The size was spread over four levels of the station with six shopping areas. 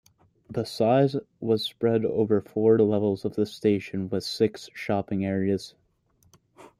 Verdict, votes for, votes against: accepted, 2, 0